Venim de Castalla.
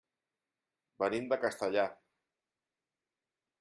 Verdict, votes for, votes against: rejected, 0, 2